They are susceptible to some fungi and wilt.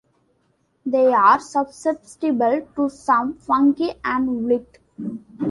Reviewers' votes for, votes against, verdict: 0, 2, rejected